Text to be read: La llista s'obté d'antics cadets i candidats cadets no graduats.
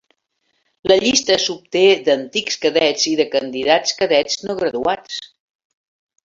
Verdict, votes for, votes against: rejected, 1, 2